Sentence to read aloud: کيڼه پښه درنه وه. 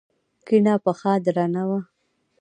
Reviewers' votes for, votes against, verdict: 1, 2, rejected